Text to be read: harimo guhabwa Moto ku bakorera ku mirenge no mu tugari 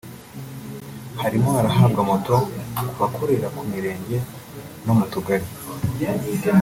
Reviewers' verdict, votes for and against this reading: rejected, 2, 3